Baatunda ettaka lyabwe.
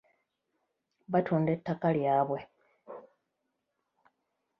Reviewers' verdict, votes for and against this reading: rejected, 1, 2